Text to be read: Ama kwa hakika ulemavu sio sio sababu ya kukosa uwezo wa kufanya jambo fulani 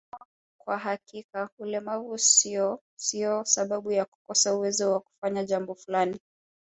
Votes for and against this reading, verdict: 1, 2, rejected